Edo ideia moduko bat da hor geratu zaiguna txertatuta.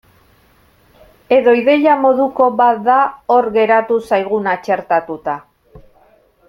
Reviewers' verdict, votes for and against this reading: accepted, 2, 0